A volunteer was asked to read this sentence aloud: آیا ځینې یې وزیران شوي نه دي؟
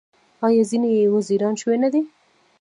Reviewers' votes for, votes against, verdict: 3, 0, accepted